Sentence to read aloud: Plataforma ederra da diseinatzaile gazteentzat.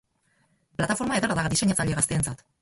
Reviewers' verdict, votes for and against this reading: rejected, 0, 4